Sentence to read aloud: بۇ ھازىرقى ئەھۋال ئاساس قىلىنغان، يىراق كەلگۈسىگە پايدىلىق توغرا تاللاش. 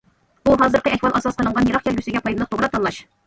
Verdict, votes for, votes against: rejected, 1, 2